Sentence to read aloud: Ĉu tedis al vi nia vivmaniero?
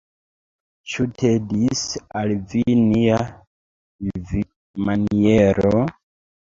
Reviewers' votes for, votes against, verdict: 0, 2, rejected